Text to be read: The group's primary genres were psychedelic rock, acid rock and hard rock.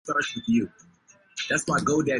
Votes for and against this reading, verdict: 0, 2, rejected